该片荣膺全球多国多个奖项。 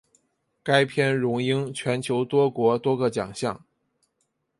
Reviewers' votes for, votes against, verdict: 2, 0, accepted